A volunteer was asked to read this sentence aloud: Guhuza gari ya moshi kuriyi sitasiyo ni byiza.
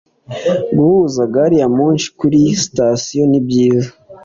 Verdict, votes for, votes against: accepted, 2, 0